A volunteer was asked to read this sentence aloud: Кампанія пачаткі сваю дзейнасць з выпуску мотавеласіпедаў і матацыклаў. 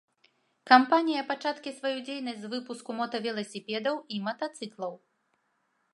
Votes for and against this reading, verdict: 2, 0, accepted